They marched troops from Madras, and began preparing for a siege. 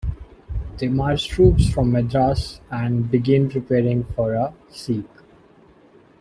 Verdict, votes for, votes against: rejected, 1, 2